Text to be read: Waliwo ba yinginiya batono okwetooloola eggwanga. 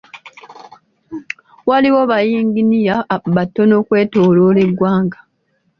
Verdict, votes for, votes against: accepted, 2, 1